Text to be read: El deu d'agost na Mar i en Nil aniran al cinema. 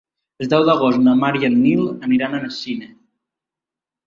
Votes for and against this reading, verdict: 1, 3, rejected